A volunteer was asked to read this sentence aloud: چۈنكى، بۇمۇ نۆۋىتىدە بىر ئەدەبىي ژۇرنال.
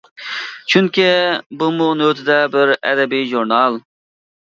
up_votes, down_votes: 2, 0